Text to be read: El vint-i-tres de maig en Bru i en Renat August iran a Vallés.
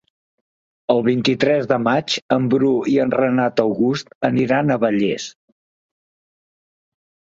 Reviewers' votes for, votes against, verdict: 0, 2, rejected